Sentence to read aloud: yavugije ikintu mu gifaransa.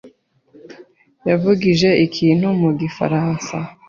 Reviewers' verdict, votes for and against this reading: accepted, 2, 0